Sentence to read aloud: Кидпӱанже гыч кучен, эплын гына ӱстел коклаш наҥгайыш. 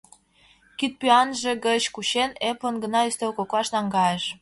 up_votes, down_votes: 2, 0